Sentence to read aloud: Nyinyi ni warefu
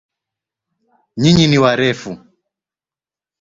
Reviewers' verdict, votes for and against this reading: accepted, 3, 0